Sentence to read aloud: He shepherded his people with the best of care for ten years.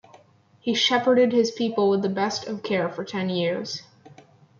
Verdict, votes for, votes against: accepted, 2, 0